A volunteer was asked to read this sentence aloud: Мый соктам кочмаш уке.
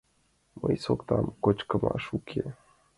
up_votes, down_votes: 0, 2